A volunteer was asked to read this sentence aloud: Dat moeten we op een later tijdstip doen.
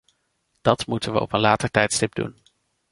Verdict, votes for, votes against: accepted, 2, 0